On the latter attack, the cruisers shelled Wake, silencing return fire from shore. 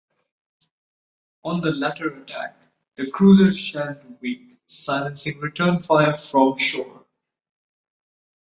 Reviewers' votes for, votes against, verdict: 2, 0, accepted